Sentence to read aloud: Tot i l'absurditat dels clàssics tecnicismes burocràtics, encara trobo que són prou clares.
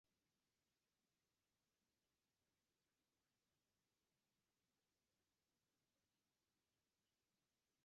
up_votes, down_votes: 1, 2